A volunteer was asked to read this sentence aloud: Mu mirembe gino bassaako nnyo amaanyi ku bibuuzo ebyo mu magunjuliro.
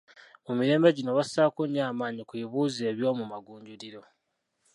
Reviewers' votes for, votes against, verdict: 2, 1, accepted